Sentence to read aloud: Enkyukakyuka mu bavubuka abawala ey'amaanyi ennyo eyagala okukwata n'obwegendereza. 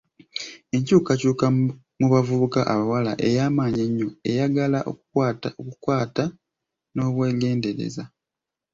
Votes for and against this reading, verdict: 0, 2, rejected